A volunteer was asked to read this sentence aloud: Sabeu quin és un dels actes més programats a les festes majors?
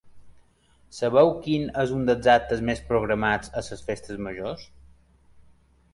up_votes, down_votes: 2, 1